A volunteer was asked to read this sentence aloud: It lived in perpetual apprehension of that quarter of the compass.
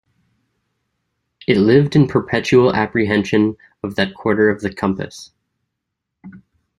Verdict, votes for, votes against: accepted, 2, 0